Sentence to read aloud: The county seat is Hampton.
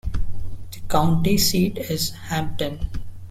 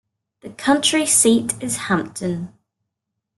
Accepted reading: first